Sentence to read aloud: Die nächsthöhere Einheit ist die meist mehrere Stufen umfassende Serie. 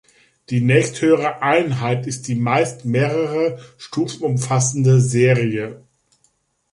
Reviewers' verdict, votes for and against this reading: rejected, 1, 2